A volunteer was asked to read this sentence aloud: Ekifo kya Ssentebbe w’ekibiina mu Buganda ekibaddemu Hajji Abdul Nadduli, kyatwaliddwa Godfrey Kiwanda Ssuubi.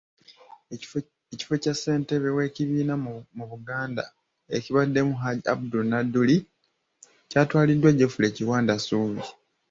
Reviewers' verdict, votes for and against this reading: rejected, 0, 2